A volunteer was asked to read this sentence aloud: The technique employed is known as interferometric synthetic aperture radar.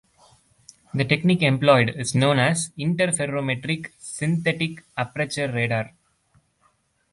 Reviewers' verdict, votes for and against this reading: accepted, 2, 1